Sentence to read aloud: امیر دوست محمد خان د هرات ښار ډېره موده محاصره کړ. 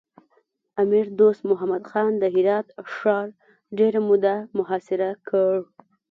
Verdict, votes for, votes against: accepted, 2, 0